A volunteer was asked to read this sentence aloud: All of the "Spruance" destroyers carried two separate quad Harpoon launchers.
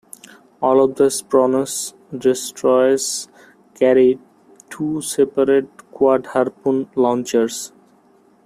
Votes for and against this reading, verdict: 0, 2, rejected